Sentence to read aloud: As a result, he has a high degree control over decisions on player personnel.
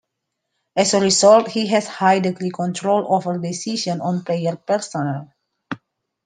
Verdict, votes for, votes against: rejected, 0, 2